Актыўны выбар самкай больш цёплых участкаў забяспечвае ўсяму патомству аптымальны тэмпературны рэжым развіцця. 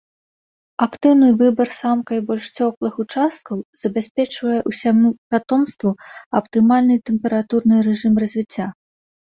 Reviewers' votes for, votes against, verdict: 0, 2, rejected